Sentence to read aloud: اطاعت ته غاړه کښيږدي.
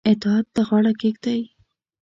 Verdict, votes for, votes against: accepted, 2, 0